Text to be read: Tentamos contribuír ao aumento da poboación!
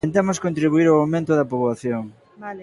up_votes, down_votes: 0, 2